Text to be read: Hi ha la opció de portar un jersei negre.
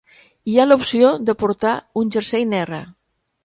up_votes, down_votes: 2, 0